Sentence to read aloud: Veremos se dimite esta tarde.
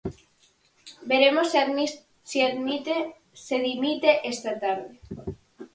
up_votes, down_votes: 0, 4